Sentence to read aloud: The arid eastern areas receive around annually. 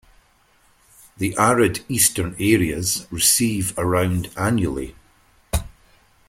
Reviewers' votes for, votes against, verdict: 0, 2, rejected